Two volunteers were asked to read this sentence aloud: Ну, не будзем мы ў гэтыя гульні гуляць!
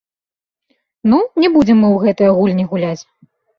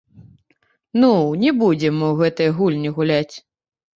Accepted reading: first